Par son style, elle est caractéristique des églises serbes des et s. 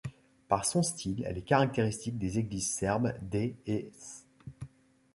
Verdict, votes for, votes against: accepted, 2, 1